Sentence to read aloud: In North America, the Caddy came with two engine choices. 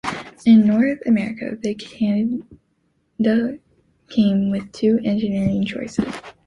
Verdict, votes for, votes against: rejected, 0, 2